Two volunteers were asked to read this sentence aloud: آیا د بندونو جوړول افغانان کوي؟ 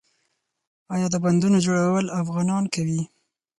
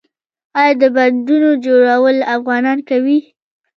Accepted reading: second